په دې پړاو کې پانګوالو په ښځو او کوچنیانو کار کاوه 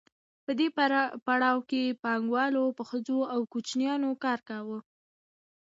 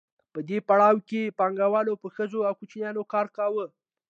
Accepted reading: second